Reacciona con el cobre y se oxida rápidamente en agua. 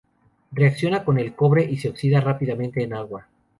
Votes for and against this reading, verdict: 2, 2, rejected